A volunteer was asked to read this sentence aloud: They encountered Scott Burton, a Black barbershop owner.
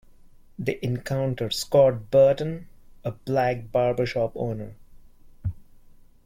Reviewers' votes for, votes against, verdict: 2, 0, accepted